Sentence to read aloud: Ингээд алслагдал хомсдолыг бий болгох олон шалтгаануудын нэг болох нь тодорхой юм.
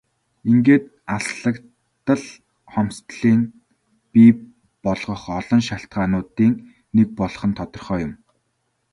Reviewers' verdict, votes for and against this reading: accepted, 4, 1